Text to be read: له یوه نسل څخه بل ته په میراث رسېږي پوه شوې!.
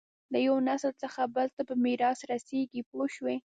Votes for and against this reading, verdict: 1, 2, rejected